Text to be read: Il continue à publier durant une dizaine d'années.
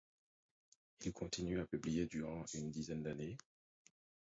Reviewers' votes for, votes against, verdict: 0, 4, rejected